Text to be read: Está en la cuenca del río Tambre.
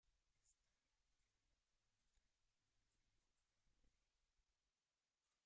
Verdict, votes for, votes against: rejected, 0, 2